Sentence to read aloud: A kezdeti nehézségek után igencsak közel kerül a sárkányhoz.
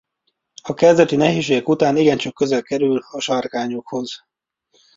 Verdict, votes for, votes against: rejected, 0, 2